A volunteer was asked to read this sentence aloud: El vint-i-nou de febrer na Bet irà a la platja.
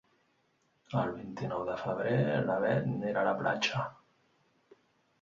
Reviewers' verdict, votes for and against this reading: rejected, 0, 2